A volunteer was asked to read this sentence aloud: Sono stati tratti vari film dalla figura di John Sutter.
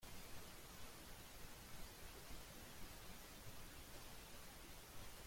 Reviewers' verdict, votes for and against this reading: rejected, 0, 2